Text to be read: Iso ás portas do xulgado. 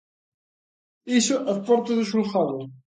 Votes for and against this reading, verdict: 3, 0, accepted